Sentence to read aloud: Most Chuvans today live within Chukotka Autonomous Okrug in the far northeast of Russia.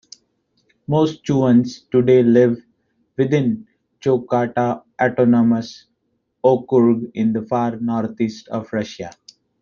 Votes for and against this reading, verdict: 2, 1, accepted